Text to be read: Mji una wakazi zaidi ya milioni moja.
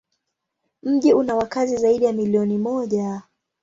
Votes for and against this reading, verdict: 2, 0, accepted